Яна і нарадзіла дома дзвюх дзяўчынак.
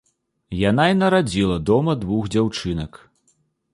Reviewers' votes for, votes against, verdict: 1, 2, rejected